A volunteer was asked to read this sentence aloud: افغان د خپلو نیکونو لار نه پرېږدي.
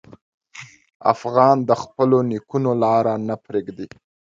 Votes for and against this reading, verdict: 1, 2, rejected